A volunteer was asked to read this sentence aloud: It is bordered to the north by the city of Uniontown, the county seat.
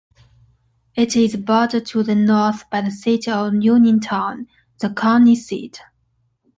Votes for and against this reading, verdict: 2, 0, accepted